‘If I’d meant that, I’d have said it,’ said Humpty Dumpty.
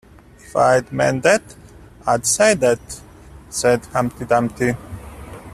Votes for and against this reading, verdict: 1, 2, rejected